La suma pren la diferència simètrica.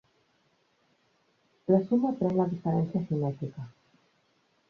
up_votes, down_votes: 1, 2